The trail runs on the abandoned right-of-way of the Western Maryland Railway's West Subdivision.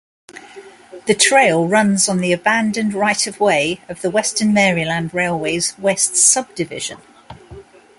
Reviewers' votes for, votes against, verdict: 2, 0, accepted